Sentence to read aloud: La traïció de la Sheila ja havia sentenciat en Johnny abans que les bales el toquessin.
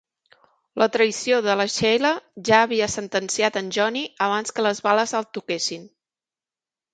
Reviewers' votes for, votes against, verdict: 3, 0, accepted